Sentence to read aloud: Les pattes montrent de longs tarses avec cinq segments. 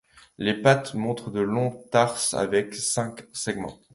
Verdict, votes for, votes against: accepted, 2, 0